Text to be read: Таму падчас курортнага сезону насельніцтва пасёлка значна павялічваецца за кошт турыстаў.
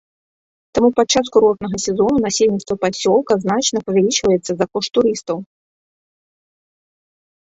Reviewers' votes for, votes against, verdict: 2, 0, accepted